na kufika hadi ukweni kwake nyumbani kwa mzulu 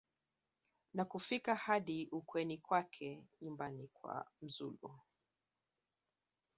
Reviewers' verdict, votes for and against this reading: rejected, 0, 2